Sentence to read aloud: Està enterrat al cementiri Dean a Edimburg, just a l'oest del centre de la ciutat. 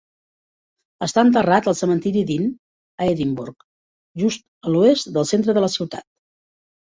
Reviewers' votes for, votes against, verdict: 4, 1, accepted